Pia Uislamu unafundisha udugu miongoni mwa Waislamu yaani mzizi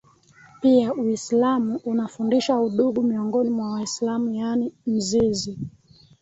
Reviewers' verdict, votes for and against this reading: accepted, 3, 0